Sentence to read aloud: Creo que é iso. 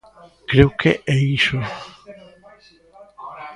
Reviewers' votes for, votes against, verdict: 0, 2, rejected